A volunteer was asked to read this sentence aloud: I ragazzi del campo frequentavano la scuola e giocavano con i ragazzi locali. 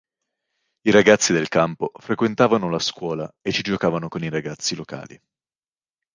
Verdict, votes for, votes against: rejected, 1, 2